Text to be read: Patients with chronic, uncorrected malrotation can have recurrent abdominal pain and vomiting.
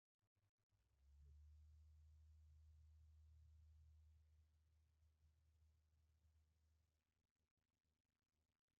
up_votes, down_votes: 0, 2